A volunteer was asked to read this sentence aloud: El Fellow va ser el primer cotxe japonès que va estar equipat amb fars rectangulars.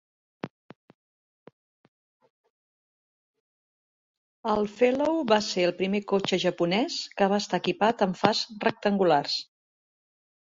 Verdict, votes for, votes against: accepted, 2, 1